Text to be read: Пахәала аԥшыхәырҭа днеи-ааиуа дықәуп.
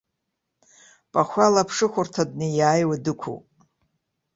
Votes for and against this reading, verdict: 2, 0, accepted